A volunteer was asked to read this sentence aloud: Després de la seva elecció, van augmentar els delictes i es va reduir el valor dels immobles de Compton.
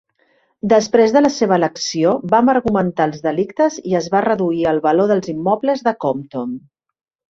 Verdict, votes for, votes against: rejected, 0, 2